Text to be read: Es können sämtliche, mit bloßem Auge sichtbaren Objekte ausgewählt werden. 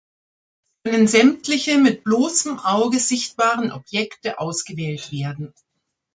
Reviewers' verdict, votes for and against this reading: rejected, 0, 2